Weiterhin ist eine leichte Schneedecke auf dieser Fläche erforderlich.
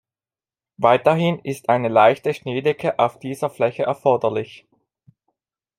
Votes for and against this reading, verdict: 2, 0, accepted